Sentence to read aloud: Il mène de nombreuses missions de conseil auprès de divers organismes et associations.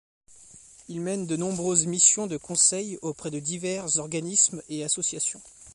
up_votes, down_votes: 2, 0